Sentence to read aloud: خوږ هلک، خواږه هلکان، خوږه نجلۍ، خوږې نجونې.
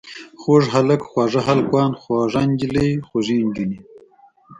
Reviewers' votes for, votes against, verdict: 2, 0, accepted